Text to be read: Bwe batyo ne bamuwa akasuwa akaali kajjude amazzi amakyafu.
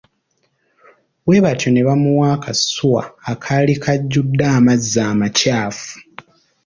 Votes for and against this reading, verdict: 2, 0, accepted